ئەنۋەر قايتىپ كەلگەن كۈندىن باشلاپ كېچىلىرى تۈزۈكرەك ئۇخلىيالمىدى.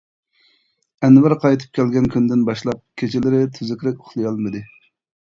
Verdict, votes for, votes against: accepted, 2, 1